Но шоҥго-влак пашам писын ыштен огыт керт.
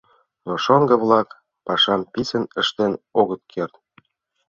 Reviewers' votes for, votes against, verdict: 2, 0, accepted